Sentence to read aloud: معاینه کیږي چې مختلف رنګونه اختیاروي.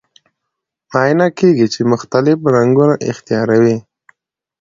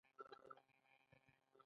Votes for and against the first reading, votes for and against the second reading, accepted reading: 0, 2, 2, 0, second